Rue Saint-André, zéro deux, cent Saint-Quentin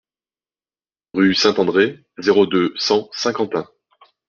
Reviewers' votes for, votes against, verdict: 2, 0, accepted